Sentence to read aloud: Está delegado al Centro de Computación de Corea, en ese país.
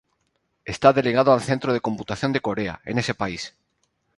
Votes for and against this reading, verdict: 4, 0, accepted